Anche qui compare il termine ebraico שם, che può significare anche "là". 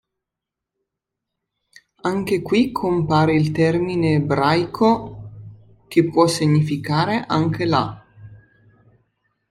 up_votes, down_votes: 0, 2